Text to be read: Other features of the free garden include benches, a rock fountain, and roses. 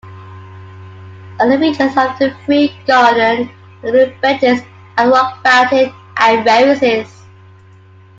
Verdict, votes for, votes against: rejected, 1, 2